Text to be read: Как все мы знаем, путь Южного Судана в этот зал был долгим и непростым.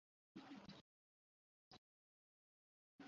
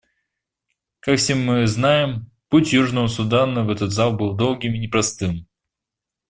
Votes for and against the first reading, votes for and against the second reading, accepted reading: 0, 2, 2, 0, second